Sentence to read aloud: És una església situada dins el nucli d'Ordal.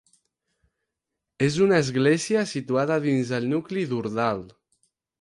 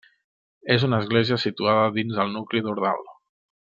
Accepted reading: second